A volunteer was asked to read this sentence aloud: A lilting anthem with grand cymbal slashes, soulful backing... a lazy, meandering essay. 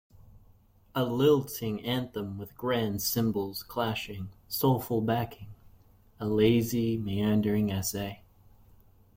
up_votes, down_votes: 1, 2